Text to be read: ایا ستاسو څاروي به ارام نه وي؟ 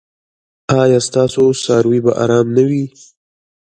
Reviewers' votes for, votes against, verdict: 2, 1, accepted